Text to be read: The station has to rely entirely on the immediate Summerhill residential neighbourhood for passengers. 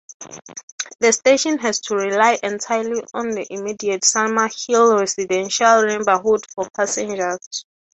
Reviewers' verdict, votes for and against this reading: accepted, 6, 3